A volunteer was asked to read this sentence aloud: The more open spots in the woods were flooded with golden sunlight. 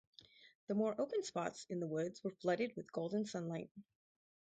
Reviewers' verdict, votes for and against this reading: rejected, 2, 2